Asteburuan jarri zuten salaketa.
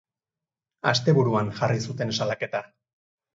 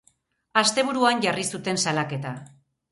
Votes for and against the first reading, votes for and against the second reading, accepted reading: 0, 2, 4, 0, second